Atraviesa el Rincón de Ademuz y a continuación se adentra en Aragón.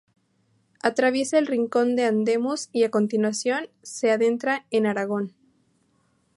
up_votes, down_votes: 0, 2